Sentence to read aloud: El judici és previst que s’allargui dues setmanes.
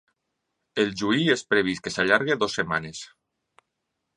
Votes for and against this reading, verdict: 0, 2, rejected